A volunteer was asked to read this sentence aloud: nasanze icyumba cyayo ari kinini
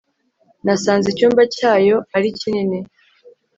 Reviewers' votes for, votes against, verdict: 3, 0, accepted